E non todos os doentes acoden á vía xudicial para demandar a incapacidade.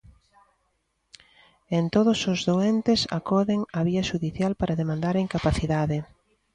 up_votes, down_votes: 0, 3